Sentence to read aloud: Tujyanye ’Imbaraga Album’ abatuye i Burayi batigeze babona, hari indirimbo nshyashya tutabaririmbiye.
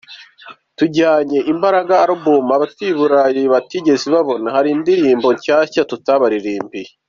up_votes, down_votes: 3, 0